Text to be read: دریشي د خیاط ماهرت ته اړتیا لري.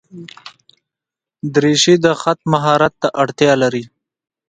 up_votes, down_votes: 1, 2